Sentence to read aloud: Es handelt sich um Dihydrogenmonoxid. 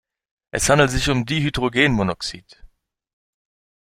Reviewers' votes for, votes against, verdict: 2, 0, accepted